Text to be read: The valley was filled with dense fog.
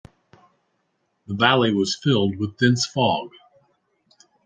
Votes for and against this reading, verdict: 2, 0, accepted